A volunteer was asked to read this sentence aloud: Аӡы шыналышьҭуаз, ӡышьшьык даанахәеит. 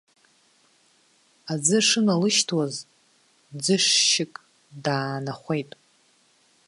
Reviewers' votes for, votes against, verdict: 1, 2, rejected